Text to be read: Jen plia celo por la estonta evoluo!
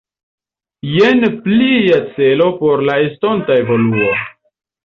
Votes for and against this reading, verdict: 3, 0, accepted